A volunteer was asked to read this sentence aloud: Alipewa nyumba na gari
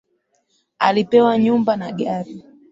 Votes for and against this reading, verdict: 2, 1, accepted